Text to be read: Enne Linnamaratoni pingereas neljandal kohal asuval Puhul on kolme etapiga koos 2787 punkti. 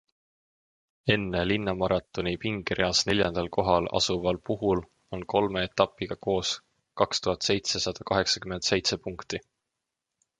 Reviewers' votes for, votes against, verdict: 0, 2, rejected